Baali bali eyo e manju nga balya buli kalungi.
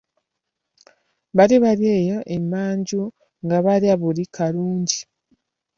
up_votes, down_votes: 0, 2